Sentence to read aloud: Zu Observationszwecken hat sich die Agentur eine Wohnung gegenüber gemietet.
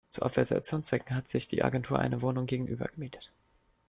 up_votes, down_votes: 0, 2